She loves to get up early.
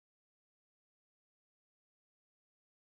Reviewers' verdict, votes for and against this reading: rejected, 0, 3